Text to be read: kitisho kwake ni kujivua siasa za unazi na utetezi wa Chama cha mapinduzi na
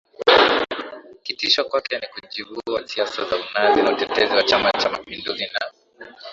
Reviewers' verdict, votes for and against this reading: rejected, 1, 2